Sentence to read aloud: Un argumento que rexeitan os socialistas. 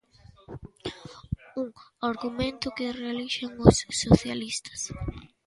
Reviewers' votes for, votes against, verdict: 0, 2, rejected